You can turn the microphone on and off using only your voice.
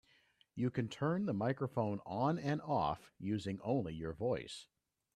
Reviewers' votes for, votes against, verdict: 2, 0, accepted